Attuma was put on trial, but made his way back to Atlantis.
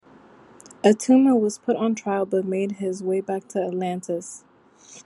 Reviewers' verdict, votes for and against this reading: accepted, 2, 0